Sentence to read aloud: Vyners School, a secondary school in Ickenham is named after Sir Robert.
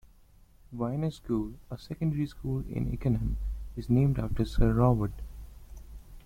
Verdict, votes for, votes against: accepted, 2, 0